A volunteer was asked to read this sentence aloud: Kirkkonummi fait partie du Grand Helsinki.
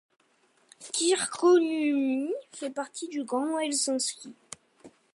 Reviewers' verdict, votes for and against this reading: accepted, 2, 0